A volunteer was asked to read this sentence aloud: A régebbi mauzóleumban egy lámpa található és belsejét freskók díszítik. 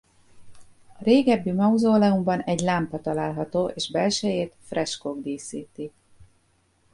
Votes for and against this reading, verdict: 0, 2, rejected